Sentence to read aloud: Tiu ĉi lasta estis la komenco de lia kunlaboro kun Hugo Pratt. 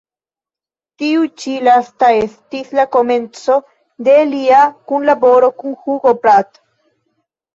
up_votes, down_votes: 1, 2